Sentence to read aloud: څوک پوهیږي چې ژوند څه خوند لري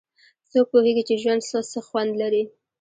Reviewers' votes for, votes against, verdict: 0, 2, rejected